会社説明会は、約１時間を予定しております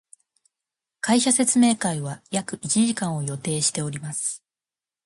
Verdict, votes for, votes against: rejected, 0, 2